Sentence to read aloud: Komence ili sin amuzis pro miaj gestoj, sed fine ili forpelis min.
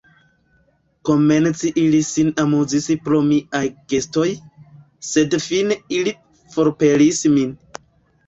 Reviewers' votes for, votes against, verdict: 3, 1, accepted